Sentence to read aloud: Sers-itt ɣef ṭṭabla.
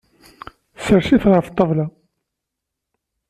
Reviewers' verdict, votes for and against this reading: accepted, 2, 0